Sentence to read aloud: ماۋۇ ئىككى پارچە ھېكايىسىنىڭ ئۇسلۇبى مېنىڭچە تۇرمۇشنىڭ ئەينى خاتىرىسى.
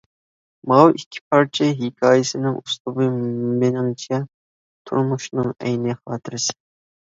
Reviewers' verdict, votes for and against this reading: accepted, 2, 0